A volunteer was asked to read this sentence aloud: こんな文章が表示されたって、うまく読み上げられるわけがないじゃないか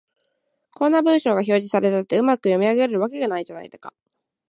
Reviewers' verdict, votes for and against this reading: accepted, 2, 0